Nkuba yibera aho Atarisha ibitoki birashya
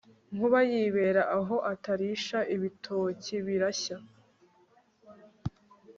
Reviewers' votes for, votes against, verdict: 2, 0, accepted